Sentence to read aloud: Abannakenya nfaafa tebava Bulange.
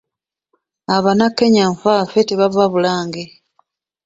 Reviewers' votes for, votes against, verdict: 2, 1, accepted